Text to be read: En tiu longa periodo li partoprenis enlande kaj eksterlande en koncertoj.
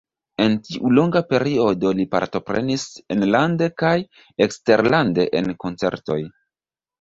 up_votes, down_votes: 1, 2